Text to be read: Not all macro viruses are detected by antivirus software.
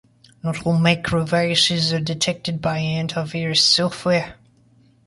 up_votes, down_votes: 0, 2